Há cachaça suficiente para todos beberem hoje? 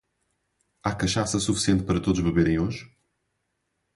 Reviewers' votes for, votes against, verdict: 2, 0, accepted